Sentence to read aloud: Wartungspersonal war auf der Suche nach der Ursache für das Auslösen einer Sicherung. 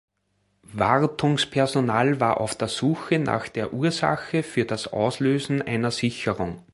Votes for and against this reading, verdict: 2, 0, accepted